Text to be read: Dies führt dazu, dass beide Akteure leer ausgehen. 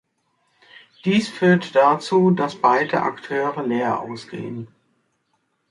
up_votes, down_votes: 3, 0